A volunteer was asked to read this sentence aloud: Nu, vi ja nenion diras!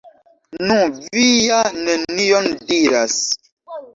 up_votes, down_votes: 1, 2